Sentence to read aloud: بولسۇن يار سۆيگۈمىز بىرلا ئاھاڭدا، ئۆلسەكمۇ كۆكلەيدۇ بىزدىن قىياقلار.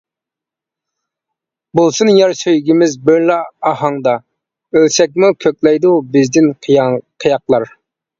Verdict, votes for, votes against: rejected, 0, 2